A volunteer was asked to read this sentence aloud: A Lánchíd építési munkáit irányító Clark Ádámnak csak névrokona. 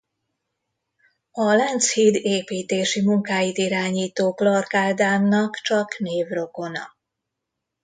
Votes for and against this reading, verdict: 2, 0, accepted